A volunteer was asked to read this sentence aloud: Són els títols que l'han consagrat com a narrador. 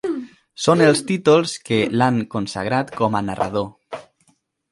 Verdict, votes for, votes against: accepted, 2, 1